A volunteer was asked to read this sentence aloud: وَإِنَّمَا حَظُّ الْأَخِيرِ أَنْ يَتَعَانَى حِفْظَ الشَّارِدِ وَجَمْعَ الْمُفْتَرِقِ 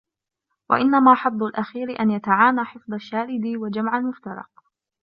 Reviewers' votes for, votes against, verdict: 1, 2, rejected